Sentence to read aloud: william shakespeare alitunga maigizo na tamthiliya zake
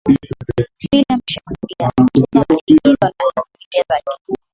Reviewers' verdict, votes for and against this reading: rejected, 0, 2